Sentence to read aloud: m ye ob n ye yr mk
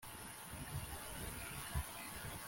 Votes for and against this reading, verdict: 0, 2, rejected